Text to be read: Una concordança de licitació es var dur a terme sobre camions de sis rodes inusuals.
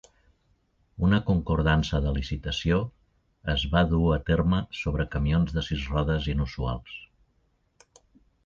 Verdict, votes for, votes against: accepted, 2, 0